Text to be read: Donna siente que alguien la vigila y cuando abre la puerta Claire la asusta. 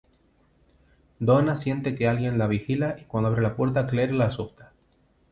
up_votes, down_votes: 1, 2